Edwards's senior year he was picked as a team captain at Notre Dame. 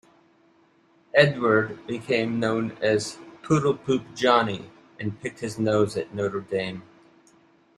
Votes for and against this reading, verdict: 0, 2, rejected